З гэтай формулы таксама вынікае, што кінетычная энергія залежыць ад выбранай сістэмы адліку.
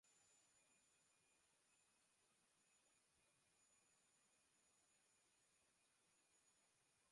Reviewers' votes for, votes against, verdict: 0, 2, rejected